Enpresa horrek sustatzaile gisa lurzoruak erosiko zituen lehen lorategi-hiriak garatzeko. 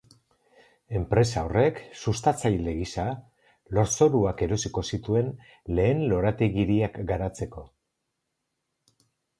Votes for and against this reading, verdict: 2, 0, accepted